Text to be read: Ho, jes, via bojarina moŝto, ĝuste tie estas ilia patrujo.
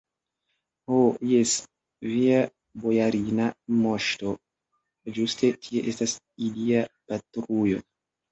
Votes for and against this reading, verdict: 2, 1, accepted